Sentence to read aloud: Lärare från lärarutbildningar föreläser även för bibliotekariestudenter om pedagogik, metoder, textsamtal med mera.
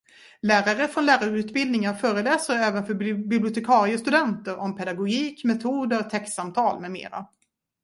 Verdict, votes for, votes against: rejected, 1, 2